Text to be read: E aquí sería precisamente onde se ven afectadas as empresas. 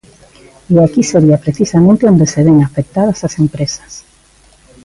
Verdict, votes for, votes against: accepted, 2, 0